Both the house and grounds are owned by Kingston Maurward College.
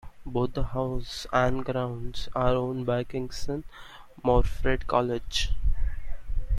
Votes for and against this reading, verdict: 1, 2, rejected